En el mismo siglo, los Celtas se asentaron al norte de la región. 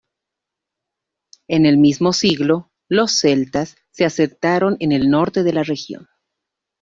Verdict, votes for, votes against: rejected, 0, 2